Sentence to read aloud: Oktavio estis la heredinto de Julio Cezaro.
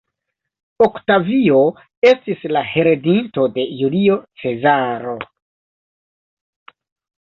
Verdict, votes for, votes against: accepted, 2, 0